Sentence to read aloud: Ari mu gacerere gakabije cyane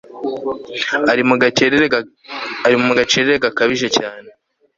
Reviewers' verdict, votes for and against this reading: rejected, 1, 2